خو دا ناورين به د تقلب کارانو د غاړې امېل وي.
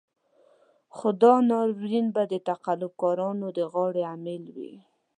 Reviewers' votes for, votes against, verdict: 3, 0, accepted